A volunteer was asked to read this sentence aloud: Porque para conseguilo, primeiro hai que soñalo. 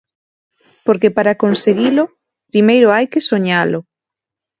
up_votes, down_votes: 2, 0